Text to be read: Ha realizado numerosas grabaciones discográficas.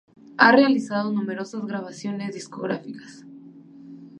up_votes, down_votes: 2, 0